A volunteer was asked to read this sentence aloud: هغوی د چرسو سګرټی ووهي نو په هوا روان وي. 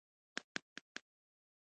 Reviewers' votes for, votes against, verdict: 2, 1, accepted